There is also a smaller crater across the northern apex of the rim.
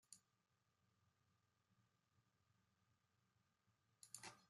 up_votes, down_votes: 0, 2